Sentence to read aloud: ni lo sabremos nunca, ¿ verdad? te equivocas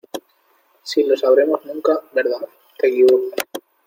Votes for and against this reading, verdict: 0, 2, rejected